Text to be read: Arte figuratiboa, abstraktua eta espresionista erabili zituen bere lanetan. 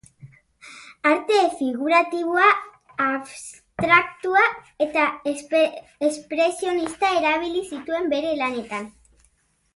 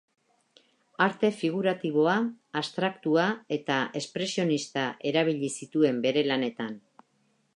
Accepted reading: second